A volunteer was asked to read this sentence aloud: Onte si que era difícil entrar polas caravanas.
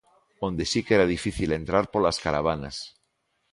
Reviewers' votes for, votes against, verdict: 1, 2, rejected